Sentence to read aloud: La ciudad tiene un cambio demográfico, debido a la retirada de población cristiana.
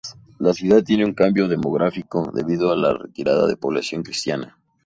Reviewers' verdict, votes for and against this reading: accepted, 4, 0